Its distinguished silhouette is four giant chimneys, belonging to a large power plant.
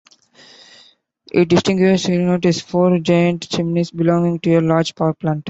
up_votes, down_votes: 0, 2